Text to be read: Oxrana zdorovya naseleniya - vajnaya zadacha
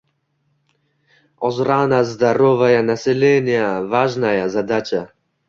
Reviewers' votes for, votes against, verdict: 0, 2, rejected